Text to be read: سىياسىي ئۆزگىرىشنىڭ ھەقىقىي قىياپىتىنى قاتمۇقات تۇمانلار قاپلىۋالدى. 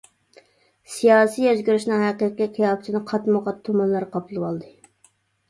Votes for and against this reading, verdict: 0, 2, rejected